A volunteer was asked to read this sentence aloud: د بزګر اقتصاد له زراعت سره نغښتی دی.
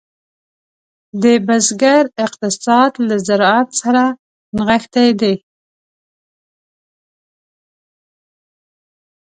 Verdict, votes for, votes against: rejected, 0, 2